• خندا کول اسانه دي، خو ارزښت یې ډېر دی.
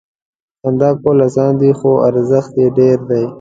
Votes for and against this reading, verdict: 1, 2, rejected